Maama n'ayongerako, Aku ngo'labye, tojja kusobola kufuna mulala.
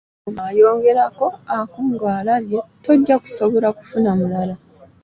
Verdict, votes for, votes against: rejected, 0, 2